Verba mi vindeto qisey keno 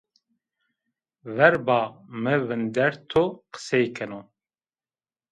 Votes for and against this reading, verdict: 2, 0, accepted